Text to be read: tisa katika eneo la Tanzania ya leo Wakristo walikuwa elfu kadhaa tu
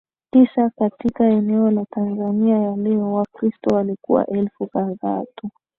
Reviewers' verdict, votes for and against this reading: accepted, 2, 0